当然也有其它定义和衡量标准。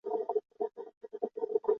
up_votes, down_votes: 0, 2